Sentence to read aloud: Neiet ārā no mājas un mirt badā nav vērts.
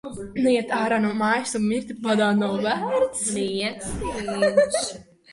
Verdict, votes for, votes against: rejected, 0, 2